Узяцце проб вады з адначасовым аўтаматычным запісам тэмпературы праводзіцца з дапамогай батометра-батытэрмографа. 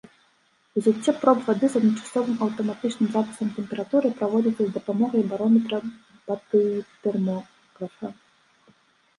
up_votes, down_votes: 1, 2